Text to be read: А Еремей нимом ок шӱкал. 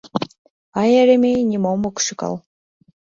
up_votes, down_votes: 2, 0